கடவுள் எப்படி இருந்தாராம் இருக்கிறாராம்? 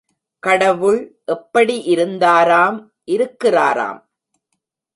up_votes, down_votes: 2, 1